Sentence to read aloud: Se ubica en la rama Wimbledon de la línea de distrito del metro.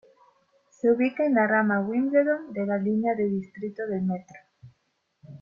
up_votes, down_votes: 2, 1